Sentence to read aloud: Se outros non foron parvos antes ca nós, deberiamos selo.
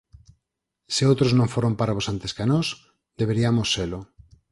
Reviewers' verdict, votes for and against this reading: accepted, 4, 0